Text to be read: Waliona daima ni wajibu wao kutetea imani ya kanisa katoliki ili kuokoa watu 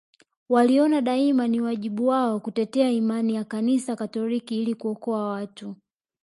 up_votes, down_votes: 1, 2